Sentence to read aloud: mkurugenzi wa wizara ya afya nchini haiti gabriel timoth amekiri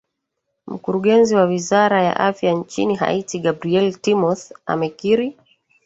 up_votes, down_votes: 0, 2